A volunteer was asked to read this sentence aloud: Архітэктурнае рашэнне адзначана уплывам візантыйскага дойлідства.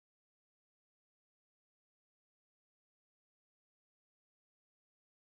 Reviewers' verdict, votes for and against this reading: rejected, 0, 2